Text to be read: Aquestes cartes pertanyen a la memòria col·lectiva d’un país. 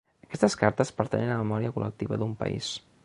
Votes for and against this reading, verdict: 2, 1, accepted